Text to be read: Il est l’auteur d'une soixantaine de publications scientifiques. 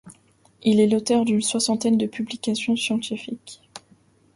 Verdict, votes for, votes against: accepted, 2, 0